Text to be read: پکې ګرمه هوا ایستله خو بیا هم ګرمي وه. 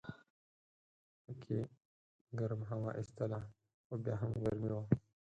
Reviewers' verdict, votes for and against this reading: rejected, 2, 4